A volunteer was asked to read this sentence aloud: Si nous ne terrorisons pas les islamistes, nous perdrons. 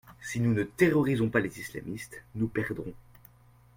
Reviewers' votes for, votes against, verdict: 2, 0, accepted